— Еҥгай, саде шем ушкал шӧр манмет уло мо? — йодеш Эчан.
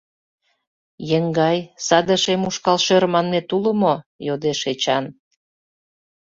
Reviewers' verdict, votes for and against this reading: accepted, 2, 0